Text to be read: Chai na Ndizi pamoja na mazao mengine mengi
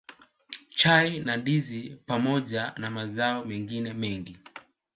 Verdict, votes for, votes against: accepted, 2, 0